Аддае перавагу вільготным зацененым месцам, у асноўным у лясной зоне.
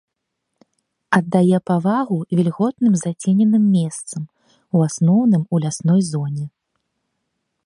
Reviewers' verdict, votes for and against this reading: rejected, 0, 2